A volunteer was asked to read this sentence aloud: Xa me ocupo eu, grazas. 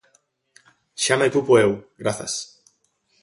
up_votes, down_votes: 2, 0